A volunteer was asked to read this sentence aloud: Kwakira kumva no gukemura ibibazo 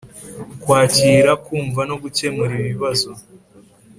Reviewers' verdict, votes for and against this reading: accepted, 3, 0